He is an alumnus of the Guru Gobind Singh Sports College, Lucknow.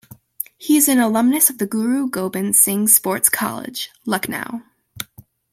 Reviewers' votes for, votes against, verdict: 2, 0, accepted